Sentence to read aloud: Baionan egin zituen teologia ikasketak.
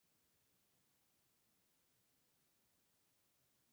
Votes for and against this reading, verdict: 2, 3, rejected